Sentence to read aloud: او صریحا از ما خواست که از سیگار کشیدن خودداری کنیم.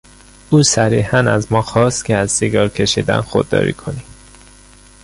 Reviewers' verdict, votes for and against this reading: accepted, 2, 0